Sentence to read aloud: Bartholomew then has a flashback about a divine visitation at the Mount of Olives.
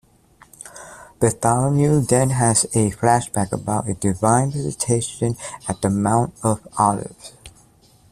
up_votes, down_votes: 2, 0